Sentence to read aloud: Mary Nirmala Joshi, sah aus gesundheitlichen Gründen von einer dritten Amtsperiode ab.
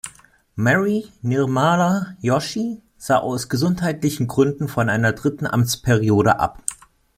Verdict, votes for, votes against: accepted, 2, 0